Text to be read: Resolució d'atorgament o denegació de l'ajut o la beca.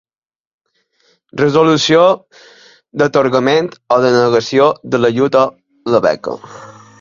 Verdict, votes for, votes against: accepted, 2, 0